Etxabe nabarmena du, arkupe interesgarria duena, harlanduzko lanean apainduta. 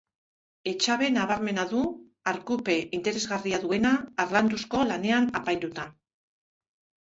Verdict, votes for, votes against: accepted, 3, 0